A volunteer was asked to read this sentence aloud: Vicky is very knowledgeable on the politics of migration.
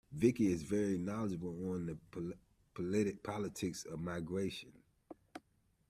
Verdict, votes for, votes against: rejected, 0, 2